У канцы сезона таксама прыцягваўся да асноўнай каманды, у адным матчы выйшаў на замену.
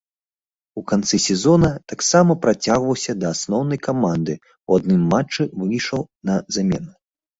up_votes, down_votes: 1, 2